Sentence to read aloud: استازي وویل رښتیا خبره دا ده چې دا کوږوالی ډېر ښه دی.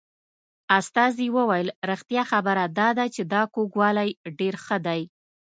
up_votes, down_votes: 2, 0